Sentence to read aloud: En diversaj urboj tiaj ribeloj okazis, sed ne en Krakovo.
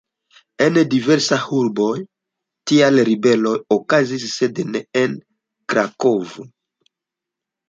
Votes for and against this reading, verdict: 1, 2, rejected